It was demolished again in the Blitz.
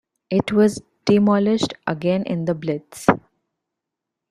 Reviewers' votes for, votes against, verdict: 1, 2, rejected